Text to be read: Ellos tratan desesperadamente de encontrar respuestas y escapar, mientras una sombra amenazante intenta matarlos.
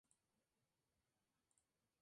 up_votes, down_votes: 0, 4